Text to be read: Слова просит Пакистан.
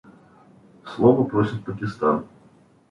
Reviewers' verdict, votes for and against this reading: accepted, 2, 0